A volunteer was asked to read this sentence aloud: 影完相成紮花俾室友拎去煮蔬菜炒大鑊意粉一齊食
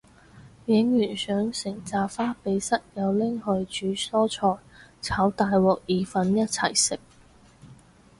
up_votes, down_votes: 4, 0